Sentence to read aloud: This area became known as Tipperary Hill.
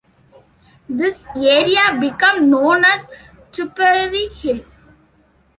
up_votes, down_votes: 1, 2